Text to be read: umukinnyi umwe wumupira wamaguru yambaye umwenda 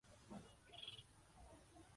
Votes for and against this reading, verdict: 0, 2, rejected